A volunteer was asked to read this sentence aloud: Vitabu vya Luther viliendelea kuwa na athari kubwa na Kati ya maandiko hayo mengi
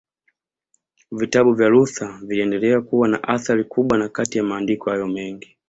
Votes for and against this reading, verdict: 2, 0, accepted